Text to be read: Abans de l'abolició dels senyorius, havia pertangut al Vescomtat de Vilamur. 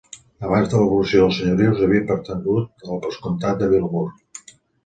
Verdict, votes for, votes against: accepted, 2, 0